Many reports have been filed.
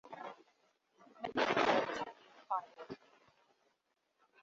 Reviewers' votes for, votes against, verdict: 0, 2, rejected